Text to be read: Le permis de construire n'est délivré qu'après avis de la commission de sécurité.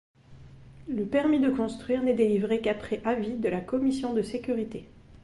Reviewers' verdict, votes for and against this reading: accepted, 2, 0